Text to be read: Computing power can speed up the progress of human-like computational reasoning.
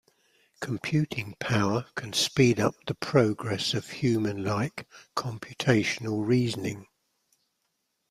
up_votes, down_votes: 2, 0